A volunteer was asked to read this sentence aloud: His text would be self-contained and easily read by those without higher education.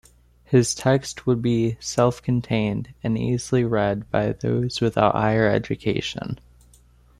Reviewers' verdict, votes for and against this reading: accepted, 2, 0